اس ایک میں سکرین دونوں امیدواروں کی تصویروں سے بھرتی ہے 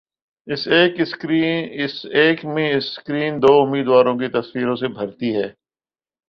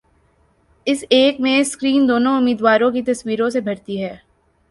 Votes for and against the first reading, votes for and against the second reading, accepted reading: 2, 3, 4, 0, second